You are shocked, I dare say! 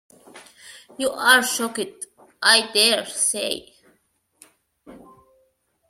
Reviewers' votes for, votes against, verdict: 0, 2, rejected